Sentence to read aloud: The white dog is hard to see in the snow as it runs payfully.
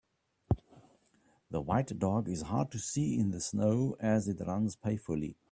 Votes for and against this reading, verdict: 2, 0, accepted